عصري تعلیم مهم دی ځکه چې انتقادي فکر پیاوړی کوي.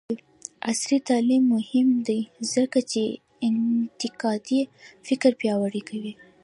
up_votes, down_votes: 1, 2